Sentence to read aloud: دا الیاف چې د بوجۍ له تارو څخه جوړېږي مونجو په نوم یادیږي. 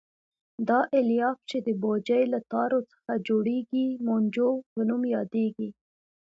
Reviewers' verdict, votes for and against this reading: rejected, 1, 2